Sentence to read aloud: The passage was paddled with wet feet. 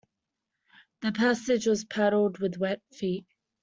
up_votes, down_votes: 2, 0